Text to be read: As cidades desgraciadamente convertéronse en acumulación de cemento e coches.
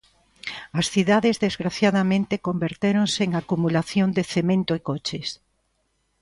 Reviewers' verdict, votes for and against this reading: accepted, 2, 0